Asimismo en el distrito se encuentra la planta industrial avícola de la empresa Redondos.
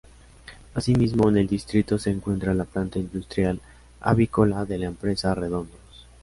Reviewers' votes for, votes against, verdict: 2, 0, accepted